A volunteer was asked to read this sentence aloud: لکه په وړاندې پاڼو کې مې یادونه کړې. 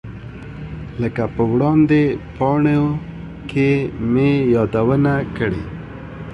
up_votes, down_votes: 2, 0